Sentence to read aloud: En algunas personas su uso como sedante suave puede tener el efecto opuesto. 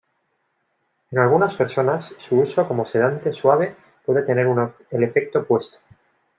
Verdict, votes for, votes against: rejected, 1, 2